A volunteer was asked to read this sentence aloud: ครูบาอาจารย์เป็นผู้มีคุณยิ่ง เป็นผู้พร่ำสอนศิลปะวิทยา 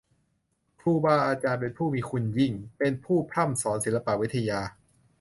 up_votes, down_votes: 2, 0